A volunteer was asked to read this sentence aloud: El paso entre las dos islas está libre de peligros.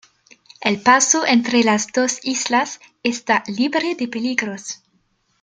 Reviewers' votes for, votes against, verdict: 2, 0, accepted